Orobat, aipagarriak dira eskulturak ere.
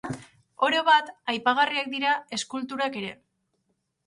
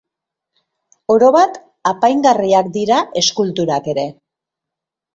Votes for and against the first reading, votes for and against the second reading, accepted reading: 4, 0, 1, 2, first